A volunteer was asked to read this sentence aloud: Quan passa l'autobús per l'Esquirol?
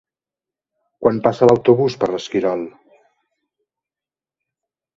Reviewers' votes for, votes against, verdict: 2, 0, accepted